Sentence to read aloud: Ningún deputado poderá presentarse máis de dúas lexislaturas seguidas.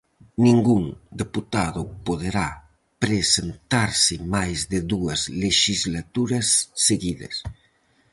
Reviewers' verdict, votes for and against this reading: accepted, 4, 0